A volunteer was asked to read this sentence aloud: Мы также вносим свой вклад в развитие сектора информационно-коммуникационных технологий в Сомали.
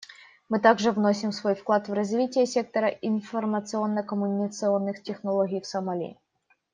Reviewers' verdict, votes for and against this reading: rejected, 1, 2